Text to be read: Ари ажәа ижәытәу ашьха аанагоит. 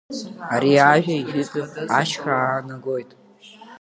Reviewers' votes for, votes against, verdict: 1, 2, rejected